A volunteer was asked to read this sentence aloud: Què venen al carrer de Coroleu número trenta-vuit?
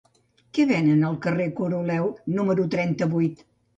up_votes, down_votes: 0, 2